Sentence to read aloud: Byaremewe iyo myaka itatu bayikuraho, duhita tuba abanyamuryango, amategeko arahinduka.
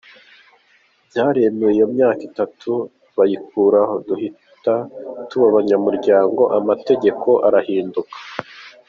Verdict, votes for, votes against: accepted, 2, 0